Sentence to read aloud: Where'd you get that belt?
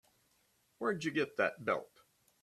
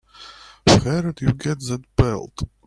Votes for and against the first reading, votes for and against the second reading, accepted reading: 3, 0, 0, 2, first